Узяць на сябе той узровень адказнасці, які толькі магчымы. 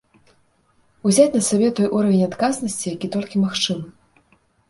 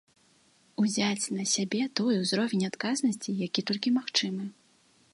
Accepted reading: second